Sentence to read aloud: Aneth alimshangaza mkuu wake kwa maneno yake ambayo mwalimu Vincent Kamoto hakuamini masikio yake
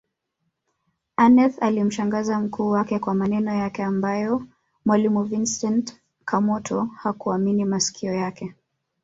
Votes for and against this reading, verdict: 1, 2, rejected